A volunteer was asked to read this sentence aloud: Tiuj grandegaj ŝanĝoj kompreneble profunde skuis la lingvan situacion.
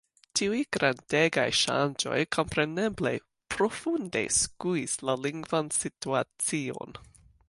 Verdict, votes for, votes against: accepted, 2, 0